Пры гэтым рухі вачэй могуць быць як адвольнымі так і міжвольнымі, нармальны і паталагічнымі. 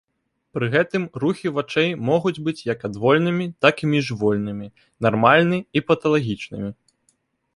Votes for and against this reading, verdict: 2, 0, accepted